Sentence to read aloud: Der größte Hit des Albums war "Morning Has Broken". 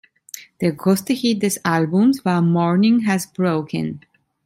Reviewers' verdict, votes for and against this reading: accepted, 2, 0